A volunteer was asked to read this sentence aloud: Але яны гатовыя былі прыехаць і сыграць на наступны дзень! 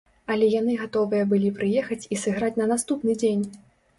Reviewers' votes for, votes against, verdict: 2, 0, accepted